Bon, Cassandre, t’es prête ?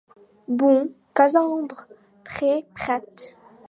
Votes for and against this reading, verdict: 0, 3, rejected